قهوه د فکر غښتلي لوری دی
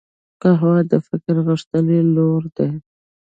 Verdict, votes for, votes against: rejected, 1, 2